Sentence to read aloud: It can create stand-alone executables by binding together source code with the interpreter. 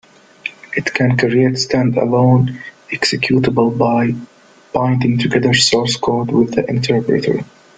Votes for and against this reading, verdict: 0, 2, rejected